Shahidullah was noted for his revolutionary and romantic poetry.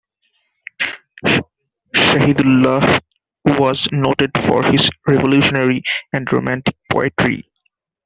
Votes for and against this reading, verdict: 0, 2, rejected